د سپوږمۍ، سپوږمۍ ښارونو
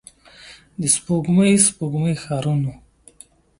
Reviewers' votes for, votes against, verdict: 2, 0, accepted